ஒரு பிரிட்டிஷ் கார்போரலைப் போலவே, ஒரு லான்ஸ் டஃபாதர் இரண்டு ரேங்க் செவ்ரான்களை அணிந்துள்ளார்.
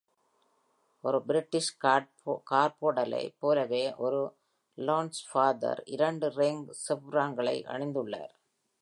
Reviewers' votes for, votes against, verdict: 0, 2, rejected